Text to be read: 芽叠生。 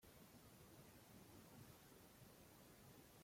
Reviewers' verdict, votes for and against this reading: rejected, 0, 2